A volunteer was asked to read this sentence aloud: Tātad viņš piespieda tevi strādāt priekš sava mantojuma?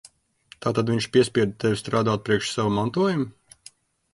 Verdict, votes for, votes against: accepted, 2, 0